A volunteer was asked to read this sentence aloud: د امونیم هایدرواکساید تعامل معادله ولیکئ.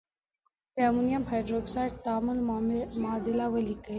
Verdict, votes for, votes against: accepted, 3, 0